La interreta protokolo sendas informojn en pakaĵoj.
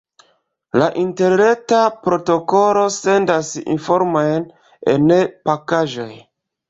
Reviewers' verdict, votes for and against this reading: rejected, 0, 2